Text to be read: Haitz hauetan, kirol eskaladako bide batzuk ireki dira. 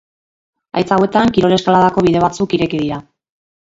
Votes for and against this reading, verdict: 2, 2, rejected